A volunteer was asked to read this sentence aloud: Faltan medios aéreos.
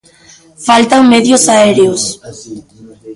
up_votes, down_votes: 0, 2